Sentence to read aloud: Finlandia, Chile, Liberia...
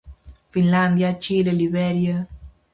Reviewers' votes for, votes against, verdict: 4, 0, accepted